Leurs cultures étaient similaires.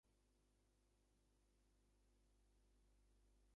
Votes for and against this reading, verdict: 0, 3, rejected